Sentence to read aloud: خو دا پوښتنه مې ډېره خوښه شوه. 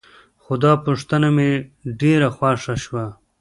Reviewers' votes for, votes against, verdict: 0, 2, rejected